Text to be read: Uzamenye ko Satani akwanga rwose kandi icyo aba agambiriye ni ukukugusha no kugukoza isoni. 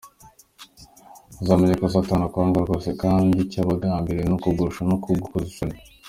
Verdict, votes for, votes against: accepted, 2, 0